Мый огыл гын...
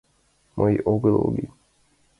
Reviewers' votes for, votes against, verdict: 2, 1, accepted